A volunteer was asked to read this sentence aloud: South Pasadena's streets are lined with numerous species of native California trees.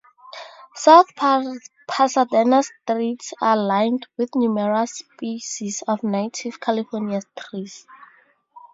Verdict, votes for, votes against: rejected, 0, 2